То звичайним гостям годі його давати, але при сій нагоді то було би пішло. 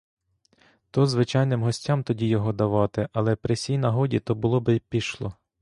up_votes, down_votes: 1, 2